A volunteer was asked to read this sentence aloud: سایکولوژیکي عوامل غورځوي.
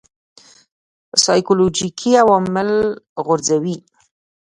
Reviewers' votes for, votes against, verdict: 2, 0, accepted